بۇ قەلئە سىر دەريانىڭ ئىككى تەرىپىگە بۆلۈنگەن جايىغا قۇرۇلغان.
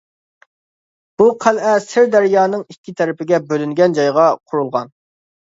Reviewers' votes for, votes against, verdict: 2, 0, accepted